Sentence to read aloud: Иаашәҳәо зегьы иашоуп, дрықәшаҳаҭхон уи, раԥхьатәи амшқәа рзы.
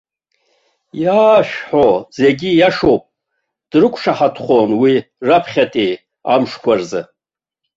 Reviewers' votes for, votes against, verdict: 0, 2, rejected